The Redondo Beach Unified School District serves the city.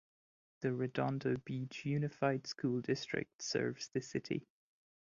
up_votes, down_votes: 2, 0